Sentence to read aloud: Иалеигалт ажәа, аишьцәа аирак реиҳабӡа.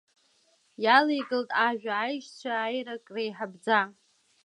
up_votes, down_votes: 2, 0